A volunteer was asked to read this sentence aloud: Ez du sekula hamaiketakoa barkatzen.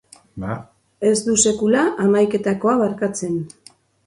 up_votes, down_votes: 0, 2